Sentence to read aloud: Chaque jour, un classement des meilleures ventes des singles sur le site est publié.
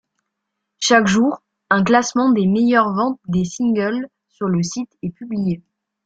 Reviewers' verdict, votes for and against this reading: rejected, 0, 2